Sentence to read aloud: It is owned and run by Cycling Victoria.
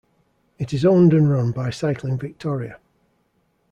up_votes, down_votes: 2, 0